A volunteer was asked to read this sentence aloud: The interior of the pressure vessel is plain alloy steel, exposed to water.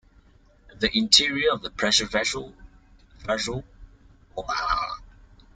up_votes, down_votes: 0, 2